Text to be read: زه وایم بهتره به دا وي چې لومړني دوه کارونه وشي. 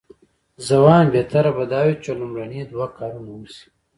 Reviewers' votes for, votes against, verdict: 0, 2, rejected